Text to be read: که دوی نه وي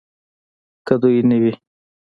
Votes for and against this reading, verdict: 0, 2, rejected